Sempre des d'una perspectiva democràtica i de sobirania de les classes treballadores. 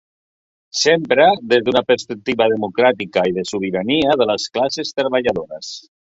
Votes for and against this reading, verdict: 2, 1, accepted